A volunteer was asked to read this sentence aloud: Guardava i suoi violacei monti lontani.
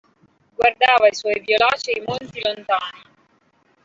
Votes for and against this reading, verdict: 0, 2, rejected